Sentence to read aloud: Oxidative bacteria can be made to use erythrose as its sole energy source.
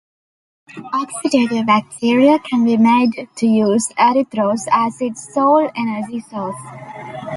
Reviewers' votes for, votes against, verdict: 1, 2, rejected